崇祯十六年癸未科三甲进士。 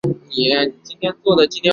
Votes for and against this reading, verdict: 0, 2, rejected